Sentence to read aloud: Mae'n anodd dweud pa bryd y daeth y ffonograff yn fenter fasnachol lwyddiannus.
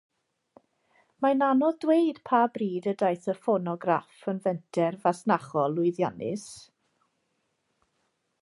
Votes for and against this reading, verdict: 2, 0, accepted